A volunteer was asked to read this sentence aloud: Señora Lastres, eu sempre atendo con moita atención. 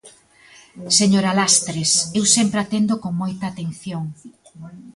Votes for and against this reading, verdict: 2, 0, accepted